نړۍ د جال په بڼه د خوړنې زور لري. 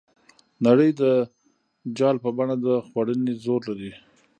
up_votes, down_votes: 1, 2